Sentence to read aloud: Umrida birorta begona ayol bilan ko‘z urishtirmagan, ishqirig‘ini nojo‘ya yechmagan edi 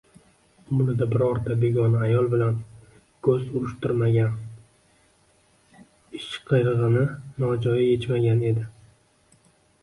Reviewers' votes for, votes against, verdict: 1, 2, rejected